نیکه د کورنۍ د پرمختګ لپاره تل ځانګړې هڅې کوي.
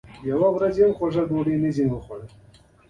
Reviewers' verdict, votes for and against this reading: rejected, 0, 2